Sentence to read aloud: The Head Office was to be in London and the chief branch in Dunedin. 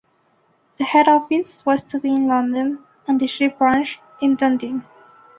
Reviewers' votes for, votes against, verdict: 3, 1, accepted